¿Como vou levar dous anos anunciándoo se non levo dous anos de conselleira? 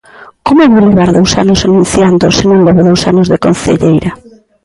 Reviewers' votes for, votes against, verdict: 0, 2, rejected